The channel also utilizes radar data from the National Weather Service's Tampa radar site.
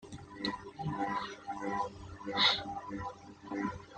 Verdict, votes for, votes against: rejected, 0, 2